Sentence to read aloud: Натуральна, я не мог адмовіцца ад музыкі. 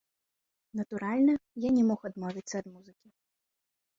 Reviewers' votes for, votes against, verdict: 2, 3, rejected